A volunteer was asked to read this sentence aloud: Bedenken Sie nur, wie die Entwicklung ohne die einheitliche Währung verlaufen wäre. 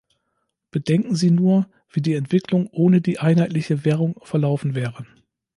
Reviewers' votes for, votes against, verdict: 2, 0, accepted